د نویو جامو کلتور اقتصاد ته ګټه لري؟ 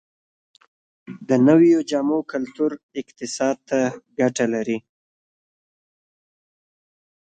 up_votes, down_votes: 2, 1